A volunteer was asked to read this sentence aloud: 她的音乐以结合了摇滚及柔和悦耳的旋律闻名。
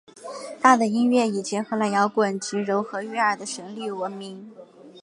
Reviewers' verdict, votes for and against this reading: accepted, 2, 0